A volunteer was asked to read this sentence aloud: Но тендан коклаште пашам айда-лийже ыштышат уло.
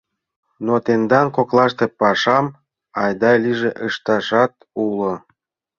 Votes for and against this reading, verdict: 0, 2, rejected